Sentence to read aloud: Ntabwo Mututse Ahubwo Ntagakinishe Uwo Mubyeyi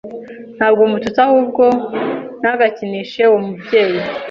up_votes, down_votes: 2, 0